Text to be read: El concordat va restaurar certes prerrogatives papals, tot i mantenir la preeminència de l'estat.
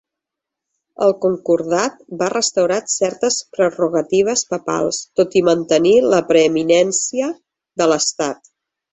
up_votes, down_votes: 3, 1